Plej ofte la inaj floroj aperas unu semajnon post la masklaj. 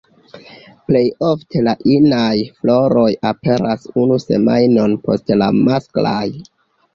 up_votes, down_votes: 1, 2